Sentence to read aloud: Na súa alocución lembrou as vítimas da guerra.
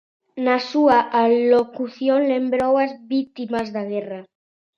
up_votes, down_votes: 2, 0